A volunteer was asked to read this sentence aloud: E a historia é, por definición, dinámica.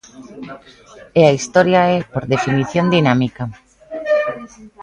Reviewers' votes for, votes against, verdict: 1, 2, rejected